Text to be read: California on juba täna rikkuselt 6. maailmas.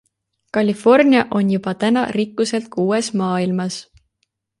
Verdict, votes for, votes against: rejected, 0, 2